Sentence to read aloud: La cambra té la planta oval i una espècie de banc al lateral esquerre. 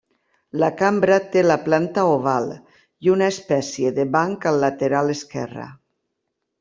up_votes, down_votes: 2, 0